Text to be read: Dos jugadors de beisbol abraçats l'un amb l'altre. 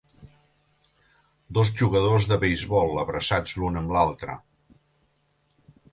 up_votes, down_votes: 2, 0